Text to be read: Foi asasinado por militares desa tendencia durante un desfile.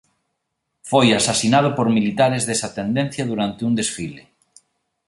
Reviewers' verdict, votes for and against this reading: accepted, 2, 0